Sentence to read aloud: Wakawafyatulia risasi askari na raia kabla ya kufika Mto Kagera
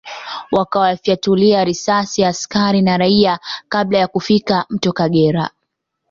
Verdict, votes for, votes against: accepted, 2, 1